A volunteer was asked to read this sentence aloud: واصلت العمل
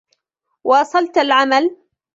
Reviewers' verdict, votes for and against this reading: accepted, 2, 0